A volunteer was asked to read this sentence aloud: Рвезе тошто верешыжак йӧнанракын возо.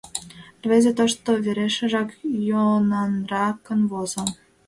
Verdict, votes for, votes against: rejected, 1, 2